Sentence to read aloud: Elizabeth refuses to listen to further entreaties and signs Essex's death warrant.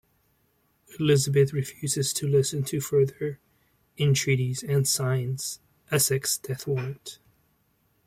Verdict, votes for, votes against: accepted, 2, 0